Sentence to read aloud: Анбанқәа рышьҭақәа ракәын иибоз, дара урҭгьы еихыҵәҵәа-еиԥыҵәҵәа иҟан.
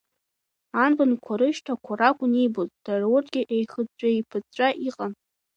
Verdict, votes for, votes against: accepted, 2, 1